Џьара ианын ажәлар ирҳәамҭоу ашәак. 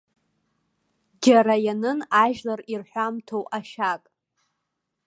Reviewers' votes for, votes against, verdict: 0, 2, rejected